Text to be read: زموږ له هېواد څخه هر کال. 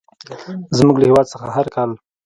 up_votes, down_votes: 1, 2